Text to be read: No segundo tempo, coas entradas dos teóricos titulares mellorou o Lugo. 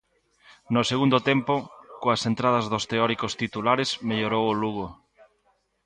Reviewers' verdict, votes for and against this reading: accepted, 2, 0